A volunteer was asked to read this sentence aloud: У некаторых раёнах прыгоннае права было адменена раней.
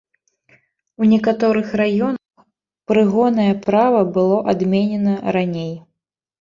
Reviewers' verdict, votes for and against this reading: rejected, 1, 2